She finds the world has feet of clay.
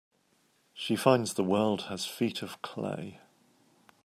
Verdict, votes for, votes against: accepted, 2, 0